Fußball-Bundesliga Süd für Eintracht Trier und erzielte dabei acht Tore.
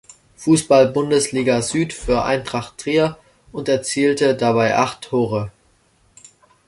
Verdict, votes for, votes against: accepted, 2, 0